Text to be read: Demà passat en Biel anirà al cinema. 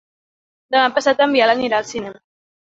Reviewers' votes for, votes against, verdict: 2, 1, accepted